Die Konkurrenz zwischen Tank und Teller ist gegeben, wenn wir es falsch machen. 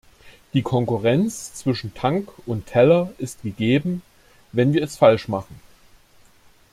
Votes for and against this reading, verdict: 2, 0, accepted